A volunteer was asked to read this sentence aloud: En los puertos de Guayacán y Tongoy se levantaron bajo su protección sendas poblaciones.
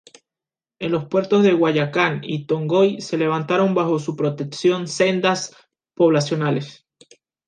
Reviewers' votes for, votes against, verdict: 0, 2, rejected